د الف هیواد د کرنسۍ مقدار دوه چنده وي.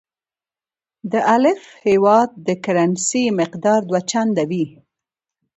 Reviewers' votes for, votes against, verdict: 2, 0, accepted